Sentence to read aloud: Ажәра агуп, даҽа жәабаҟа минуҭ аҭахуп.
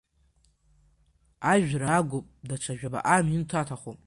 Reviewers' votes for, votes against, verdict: 2, 0, accepted